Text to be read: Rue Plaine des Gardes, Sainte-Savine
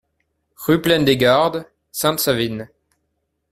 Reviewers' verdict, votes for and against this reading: accepted, 2, 0